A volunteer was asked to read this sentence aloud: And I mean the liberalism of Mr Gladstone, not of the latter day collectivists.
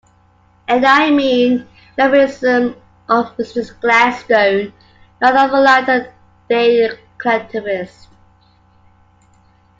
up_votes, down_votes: 1, 2